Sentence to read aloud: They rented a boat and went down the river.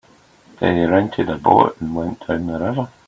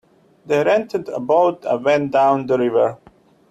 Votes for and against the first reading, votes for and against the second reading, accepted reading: 1, 3, 2, 0, second